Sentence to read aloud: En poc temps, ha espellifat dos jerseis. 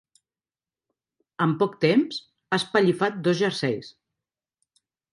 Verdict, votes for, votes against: accepted, 2, 0